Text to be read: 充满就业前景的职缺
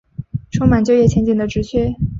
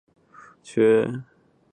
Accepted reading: first